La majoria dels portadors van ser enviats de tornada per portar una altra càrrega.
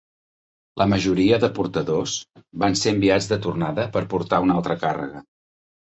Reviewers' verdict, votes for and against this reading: rejected, 0, 2